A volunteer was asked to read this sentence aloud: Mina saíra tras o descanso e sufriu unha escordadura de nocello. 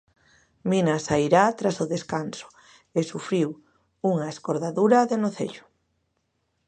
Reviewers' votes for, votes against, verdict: 0, 2, rejected